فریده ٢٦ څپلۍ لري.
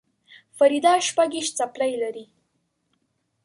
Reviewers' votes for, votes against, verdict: 0, 2, rejected